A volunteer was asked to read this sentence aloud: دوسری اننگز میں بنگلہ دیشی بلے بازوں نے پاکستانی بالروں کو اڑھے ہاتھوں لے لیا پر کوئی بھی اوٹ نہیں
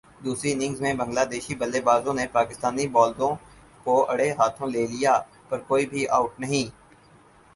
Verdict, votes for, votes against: accepted, 4, 0